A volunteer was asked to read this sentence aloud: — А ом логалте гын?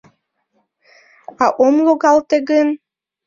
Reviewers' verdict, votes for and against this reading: accepted, 2, 0